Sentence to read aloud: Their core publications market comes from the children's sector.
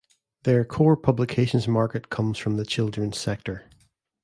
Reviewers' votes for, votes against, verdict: 2, 0, accepted